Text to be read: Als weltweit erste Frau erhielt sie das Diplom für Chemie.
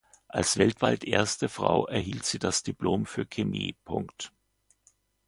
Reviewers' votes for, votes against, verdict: 2, 0, accepted